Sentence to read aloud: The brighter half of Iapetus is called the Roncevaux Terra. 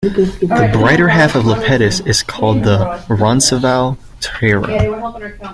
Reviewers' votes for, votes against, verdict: 0, 2, rejected